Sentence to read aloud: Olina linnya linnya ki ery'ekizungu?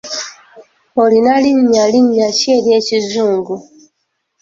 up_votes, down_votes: 2, 0